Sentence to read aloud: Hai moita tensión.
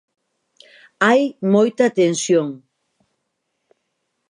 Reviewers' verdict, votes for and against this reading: accepted, 4, 0